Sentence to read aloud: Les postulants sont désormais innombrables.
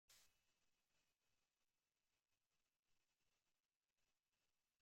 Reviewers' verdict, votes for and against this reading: rejected, 0, 2